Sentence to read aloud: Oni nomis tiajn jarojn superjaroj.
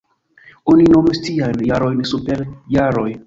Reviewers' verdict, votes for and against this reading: rejected, 1, 2